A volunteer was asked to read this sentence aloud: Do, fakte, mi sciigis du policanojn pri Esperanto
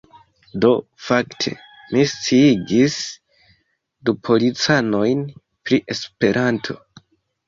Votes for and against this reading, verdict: 2, 0, accepted